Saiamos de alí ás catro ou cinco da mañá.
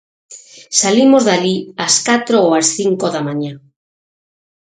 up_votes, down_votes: 0, 6